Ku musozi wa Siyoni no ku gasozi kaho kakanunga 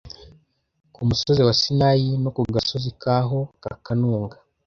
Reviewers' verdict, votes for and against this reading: rejected, 1, 2